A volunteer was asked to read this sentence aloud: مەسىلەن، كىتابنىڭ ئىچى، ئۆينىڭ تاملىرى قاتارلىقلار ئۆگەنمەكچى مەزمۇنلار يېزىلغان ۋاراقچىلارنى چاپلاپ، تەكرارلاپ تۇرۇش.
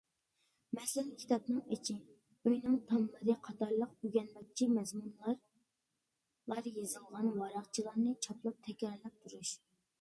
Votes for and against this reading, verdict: 0, 2, rejected